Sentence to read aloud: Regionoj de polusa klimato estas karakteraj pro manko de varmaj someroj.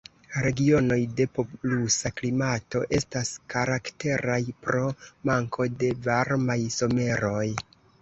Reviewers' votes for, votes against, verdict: 0, 2, rejected